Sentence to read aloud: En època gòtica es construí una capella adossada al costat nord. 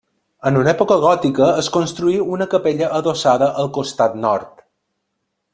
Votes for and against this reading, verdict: 0, 2, rejected